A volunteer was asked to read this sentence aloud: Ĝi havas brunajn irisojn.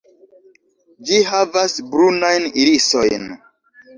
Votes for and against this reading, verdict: 1, 2, rejected